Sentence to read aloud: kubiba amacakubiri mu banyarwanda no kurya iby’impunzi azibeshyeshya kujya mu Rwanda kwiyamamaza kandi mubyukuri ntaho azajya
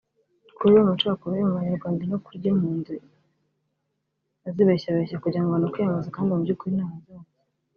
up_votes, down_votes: 0, 2